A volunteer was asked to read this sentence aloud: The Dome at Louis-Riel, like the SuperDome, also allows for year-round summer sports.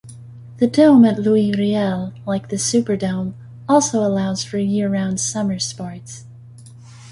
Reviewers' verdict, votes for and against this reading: rejected, 1, 2